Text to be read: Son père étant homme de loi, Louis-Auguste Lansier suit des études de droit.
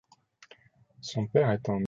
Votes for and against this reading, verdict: 0, 2, rejected